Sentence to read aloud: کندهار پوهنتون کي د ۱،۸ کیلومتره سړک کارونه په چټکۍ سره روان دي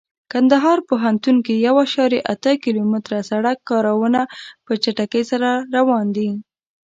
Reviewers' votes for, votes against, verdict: 0, 2, rejected